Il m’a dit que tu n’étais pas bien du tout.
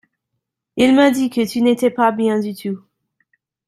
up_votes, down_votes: 2, 1